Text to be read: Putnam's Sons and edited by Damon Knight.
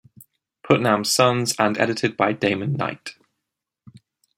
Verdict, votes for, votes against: accepted, 2, 0